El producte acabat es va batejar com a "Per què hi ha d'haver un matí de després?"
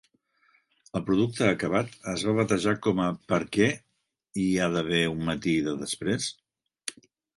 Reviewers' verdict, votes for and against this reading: accepted, 2, 0